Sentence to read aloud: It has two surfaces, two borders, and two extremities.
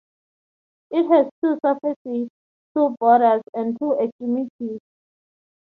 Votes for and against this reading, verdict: 0, 2, rejected